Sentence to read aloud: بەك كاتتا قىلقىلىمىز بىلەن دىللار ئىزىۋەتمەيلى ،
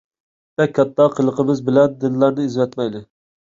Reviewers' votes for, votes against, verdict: 0, 2, rejected